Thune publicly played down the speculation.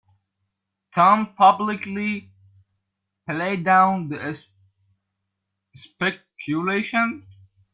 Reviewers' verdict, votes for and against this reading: rejected, 0, 2